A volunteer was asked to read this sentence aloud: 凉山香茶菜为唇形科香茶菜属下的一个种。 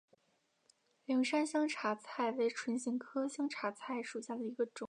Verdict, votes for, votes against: accepted, 2, 0